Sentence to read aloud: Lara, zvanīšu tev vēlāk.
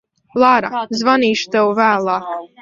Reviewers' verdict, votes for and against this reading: rejected, 1, 2